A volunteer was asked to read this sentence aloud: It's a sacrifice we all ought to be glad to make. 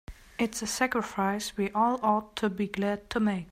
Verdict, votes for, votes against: accepted, 2, 1